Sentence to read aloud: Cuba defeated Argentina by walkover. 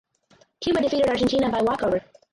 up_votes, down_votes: 0, 4